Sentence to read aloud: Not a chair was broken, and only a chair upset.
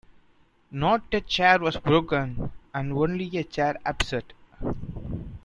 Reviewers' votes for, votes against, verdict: 1, 2, rejected